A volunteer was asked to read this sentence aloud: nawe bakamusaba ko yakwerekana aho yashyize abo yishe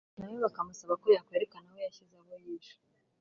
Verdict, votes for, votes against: rejected, 1, 2